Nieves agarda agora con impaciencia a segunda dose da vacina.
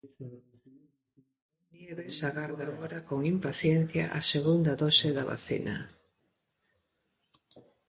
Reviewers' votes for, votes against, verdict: 0, 2, rejected